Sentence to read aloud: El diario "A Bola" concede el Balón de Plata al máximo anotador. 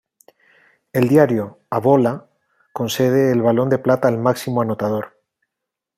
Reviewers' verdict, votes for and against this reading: accepted, 2, 0